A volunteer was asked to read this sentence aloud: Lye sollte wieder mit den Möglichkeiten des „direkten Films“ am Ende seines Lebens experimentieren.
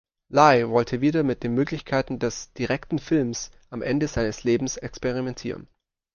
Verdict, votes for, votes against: rejected, 1, 2